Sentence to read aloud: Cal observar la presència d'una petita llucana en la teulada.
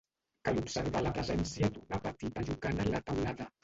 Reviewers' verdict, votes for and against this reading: rejected, 1, 2